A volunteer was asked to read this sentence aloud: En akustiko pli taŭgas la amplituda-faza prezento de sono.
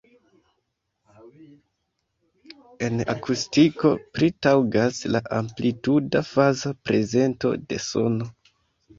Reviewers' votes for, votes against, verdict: 0, 2, rejected